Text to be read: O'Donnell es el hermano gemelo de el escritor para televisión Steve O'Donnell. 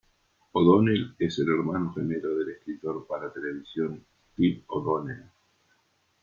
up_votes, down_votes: 2, 1